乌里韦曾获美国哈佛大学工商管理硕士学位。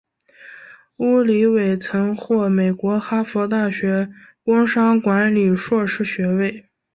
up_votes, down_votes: 2, 0